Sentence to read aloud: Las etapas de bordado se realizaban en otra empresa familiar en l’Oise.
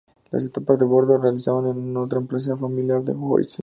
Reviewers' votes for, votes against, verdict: 2, 0, accepted